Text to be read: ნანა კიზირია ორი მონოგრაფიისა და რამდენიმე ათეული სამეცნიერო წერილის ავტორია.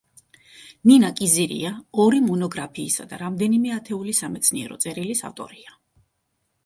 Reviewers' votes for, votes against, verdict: 1, 2, rejected